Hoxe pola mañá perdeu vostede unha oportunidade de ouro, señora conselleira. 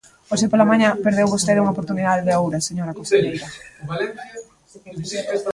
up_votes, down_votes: 1, 2